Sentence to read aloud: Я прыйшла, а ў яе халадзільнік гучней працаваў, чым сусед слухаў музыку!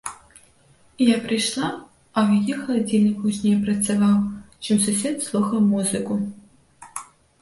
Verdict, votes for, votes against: rejected, 1, 2